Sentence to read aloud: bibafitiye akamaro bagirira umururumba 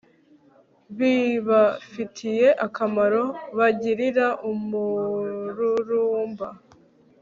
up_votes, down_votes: 3, 1